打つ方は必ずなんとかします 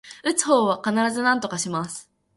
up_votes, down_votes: 2, 0